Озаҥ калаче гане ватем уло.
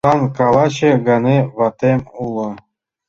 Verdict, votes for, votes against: rejected, 0, 2